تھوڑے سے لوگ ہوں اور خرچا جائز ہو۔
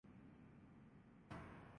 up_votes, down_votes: 0, 2